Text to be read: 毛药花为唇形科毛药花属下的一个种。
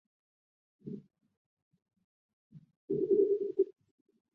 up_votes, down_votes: 1, 2